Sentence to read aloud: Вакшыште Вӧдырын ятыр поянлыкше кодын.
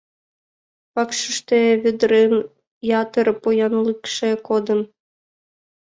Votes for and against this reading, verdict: 1, 2, rejected